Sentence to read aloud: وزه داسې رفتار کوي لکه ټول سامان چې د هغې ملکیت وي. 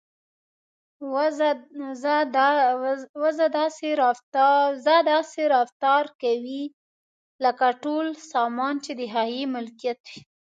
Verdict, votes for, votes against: rejected, 1, 3